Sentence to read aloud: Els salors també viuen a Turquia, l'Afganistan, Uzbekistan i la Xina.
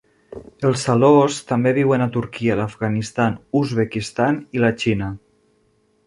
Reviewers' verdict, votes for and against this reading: rejected, 0, 2